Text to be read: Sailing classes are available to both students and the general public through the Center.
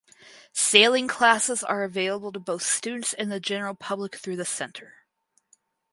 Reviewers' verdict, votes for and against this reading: accepted, 4, 0